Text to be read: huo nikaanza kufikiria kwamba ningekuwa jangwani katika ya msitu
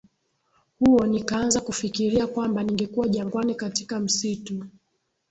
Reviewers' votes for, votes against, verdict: 10, 1, accepted